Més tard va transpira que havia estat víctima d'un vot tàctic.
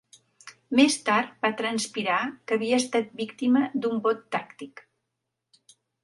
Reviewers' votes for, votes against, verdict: 1, 2, rejected